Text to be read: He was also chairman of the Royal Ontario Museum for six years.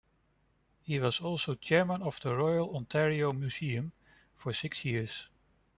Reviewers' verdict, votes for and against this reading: accepted, 2, 0